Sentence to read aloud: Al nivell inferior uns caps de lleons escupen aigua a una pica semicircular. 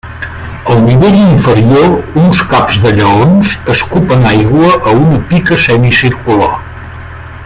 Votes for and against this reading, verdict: 1, 2, rejected